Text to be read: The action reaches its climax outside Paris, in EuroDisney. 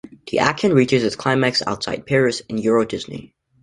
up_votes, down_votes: 0, 2